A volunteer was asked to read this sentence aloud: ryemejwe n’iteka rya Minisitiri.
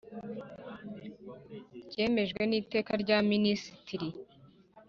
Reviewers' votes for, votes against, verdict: 2, 0, accepted